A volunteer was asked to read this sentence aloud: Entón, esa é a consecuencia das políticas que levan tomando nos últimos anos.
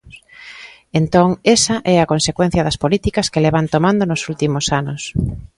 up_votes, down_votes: 2, 0